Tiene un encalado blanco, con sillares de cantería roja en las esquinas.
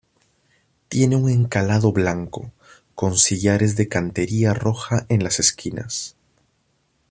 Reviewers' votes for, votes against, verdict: 2, 0, accepted